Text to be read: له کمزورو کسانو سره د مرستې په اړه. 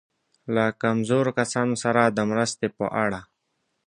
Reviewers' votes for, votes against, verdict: 2, 0, accepted